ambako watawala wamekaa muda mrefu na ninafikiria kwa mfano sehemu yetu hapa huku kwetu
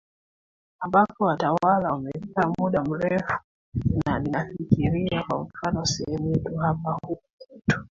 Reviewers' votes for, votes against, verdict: 2, 1, accepted